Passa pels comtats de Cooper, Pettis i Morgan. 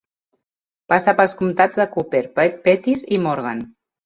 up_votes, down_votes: 1, 2